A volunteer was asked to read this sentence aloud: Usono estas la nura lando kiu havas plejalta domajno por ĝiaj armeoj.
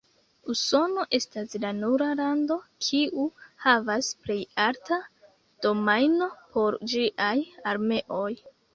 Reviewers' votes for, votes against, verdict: 1, 2, rejected